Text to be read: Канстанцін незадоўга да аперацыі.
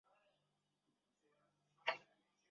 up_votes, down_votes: 0, 2